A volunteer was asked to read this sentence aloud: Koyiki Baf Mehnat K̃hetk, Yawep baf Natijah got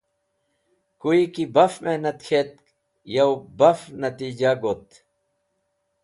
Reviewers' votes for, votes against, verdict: 2, 0, accepted